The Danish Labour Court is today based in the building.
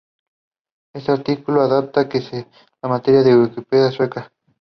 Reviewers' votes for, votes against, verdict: 1, 2, rejected